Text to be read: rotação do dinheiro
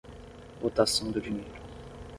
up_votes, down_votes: 10, 5